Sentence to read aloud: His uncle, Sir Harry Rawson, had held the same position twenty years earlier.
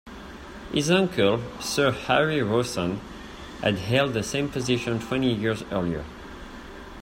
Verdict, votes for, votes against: accepted, 2, 0